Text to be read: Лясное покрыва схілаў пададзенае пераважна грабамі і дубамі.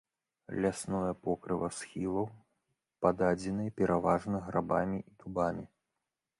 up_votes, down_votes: 1, 2